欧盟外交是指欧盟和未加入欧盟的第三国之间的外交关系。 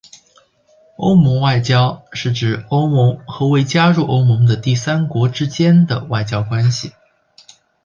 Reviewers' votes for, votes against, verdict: 3, 0, accepted